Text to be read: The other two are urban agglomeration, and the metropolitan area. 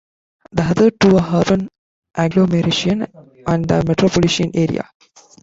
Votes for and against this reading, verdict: 0, 2, rejected